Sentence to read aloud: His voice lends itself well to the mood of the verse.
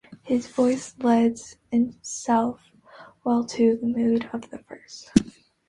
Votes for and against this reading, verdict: 1, 3, rejected